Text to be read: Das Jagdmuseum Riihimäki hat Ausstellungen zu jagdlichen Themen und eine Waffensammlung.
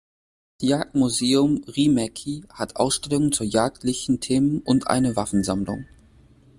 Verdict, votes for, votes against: rejected, 0, 2